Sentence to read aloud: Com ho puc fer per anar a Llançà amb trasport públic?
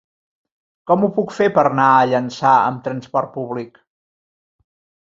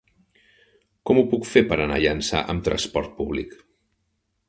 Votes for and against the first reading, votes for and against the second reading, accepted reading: 1, 2, 4, 0, second